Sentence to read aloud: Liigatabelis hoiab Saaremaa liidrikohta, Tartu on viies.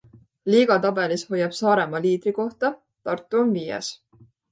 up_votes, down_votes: 2, 0